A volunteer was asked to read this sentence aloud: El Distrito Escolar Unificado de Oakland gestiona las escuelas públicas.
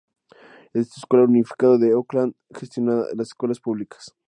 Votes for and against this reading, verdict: 2, 4, rejected